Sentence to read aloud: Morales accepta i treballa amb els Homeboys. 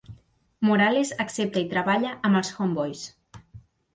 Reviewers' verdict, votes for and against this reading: accepted, 3, 0